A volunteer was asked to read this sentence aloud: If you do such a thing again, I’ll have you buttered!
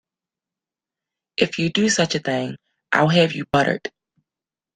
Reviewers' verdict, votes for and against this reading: accepted, 2, 1